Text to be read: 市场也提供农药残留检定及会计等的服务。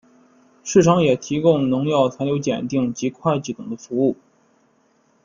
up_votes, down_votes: 2, 0